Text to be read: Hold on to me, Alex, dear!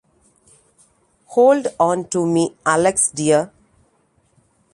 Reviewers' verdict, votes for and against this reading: rejected, 0, 2